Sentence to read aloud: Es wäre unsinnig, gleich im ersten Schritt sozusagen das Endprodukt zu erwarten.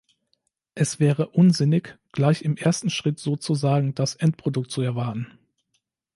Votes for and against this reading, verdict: 2, 0, accepted